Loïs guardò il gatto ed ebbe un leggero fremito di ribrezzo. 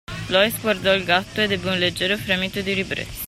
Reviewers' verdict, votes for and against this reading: accepted, 2, 0